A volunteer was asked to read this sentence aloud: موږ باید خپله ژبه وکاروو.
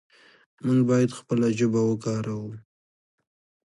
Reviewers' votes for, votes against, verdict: 0, 2, rejected